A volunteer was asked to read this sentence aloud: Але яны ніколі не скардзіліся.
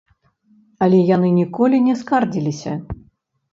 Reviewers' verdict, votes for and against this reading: rejected, 0, 2